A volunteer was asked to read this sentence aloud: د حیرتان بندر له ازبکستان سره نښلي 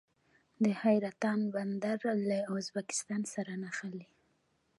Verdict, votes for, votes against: rejected, 1, 2